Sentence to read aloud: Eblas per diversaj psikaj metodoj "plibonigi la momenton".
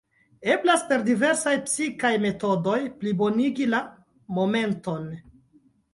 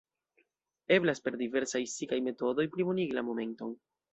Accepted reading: first